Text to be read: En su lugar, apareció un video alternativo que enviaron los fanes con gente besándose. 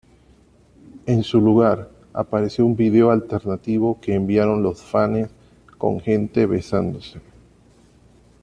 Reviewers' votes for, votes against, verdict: 2, 1, accepted